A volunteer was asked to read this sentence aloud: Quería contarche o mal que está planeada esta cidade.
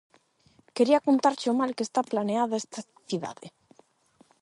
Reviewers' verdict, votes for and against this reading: accepted, 8, 0